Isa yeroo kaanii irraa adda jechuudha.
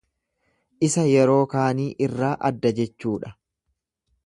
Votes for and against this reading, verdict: 2, 0, accepted